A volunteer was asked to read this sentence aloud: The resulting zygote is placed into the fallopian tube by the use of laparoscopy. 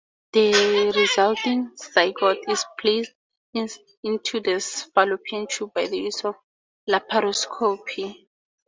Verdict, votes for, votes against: rejected, 0, 4